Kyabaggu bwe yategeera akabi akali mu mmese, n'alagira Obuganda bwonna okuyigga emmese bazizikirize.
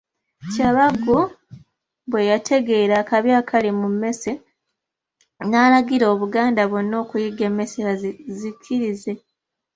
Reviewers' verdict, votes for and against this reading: accepted, 2, 0